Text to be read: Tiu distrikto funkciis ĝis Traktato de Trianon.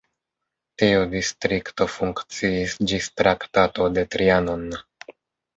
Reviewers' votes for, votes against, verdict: 2, 1, accepted